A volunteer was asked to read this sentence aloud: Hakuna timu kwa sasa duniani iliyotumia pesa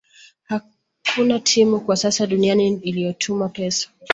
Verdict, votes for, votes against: rejected, 1, 2